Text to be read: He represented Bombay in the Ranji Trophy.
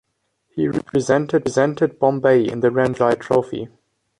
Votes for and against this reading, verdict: 0, 2, rejected